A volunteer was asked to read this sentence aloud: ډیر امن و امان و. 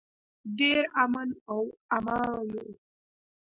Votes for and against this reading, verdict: 1, 2, rejected